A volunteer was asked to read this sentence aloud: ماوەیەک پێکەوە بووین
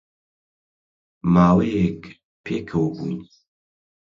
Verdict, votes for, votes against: accepted, 4, 0